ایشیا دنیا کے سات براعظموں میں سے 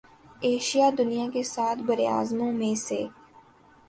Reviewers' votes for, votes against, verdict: 2, 0, accepted